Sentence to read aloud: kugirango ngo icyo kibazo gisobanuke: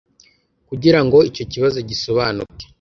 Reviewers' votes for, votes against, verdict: 0, 2, rejected